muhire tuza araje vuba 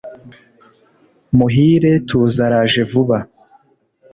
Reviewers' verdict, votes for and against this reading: accepted, 2, 0